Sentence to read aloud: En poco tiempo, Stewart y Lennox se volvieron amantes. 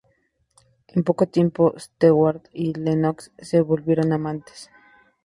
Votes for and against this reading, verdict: 2, 0, accepted